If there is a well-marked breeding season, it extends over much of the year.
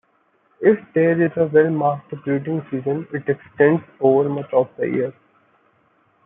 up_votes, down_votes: 2, 0